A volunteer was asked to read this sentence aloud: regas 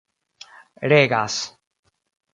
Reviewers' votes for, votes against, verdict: 2, 0, accepted